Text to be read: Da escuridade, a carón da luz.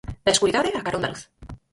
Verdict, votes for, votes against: rejected, 0, 4